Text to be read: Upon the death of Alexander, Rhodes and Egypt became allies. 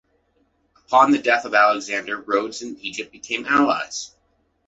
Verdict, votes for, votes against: accepted, 2, 0